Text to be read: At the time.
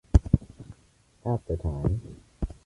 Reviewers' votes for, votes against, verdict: 2, 0, accepted